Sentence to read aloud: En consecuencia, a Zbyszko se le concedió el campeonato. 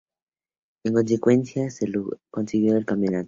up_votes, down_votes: 2, 0